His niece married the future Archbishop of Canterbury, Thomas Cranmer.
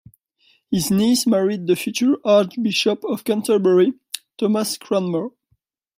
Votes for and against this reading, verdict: 2, 0, accepted